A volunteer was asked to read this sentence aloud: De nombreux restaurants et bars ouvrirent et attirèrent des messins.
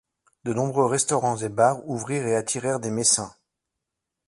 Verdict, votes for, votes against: accepted, 2, 0